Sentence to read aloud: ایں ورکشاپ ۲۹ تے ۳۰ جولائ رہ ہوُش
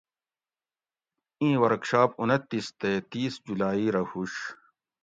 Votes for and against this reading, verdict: 0, 2, rejected